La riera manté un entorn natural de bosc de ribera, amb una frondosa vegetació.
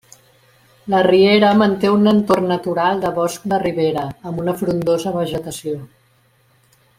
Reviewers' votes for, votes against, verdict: 2, 0, accepted